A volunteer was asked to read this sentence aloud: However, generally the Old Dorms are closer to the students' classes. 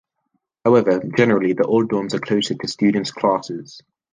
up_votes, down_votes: 0, 2